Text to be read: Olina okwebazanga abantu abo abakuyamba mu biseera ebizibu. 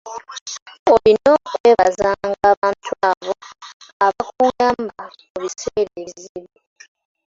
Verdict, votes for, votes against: accepted, 2, 1